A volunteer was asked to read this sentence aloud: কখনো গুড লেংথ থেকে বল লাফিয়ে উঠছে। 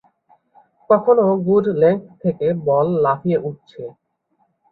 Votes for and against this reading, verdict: 2, 0, accepted